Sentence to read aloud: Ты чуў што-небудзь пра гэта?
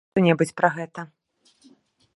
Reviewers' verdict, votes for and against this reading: rejected, 0, 2